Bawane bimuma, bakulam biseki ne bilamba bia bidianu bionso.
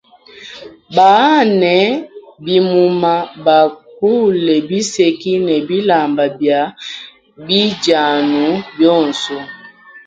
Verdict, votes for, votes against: accepted, 2, 0